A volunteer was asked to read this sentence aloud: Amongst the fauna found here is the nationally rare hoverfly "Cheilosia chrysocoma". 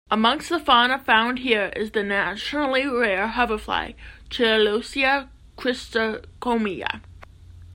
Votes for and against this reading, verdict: 0, 2, rejected